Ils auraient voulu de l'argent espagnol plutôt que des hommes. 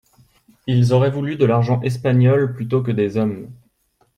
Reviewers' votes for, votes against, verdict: 2, 0, accepted